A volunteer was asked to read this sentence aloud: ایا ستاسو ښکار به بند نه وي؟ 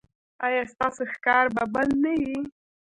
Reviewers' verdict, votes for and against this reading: accepted, 2, 1